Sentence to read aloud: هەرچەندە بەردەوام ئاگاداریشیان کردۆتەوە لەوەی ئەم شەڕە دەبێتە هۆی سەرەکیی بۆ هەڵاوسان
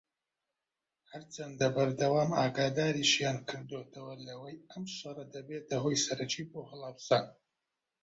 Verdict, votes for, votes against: rejected, 0, 2